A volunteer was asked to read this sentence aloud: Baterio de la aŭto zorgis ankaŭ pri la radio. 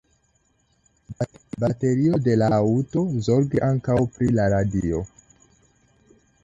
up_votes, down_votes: 0, 2